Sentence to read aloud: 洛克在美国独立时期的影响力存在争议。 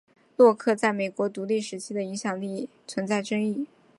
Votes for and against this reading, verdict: 6, 0, accepted